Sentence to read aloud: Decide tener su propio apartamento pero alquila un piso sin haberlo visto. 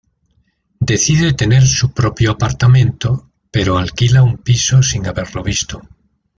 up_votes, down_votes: 0, 2